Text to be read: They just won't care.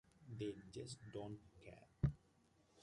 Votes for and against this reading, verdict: 1, 2, rejected